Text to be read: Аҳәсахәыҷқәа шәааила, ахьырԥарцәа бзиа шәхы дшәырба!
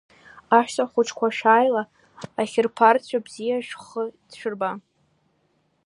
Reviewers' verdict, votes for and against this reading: rejected, 1, 2